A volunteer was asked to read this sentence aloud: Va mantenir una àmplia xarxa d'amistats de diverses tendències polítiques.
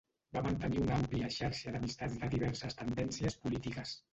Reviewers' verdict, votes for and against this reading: rejected, 1, 2